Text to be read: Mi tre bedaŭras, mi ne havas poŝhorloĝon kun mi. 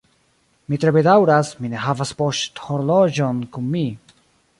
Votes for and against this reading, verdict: 3, 2, accepted